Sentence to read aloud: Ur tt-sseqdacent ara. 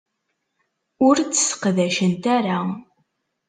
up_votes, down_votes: 2, 0